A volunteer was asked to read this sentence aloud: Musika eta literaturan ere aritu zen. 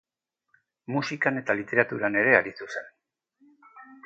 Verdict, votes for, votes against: rejected, 0, 2